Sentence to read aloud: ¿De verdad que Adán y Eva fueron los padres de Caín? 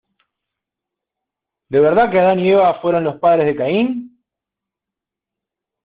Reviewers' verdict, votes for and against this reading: accepted, 2, 1